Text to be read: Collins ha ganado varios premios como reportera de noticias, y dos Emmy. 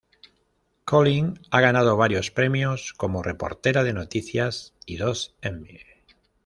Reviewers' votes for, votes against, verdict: 1, 2, rejected